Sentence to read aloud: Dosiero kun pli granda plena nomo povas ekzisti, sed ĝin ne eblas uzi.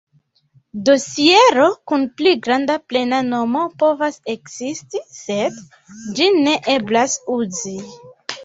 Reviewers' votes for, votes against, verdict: 2, 0, accepted